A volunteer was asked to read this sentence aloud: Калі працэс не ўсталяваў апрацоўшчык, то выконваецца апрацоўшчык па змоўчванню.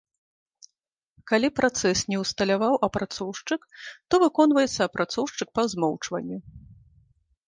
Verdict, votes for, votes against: accepted, 2, 0